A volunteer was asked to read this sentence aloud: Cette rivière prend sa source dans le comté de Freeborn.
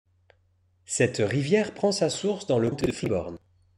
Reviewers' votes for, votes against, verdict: 1, 2, rejected